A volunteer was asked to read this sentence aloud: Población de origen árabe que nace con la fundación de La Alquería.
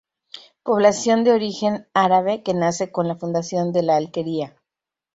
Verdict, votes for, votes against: rejected, 2, 2